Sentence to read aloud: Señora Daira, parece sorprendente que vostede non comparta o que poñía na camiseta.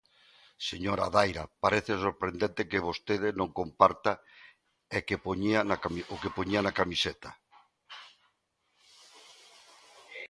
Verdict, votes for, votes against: rejected, 0, 2